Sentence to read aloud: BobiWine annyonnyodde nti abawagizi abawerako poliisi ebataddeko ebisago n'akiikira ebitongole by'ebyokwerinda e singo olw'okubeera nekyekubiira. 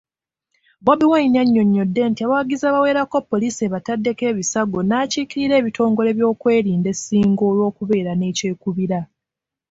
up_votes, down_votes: 2, 1